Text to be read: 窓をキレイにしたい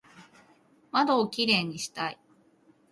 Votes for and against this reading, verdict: 2, 0, accepted